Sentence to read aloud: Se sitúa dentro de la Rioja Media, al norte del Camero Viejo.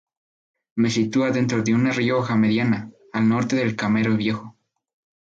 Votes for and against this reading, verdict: 2, 2, rejected